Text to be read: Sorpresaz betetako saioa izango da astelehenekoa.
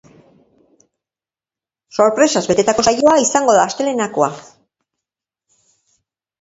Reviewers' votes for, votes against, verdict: 1, 3, rejected